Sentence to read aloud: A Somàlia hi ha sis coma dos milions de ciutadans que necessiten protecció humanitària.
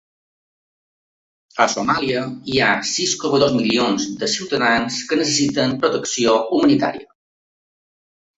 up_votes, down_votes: 4, 0